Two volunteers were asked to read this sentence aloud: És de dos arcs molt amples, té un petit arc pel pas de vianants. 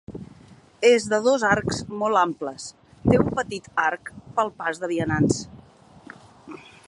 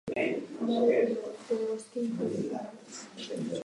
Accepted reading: first